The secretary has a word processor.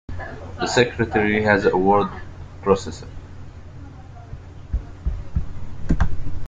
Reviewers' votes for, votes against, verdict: 0, 2, rejected